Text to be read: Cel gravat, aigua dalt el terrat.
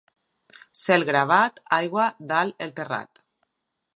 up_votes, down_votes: 2, 0